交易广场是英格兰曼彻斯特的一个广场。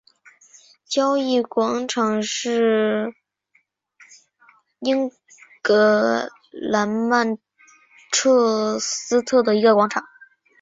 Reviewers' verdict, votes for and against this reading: accepted, 2, 1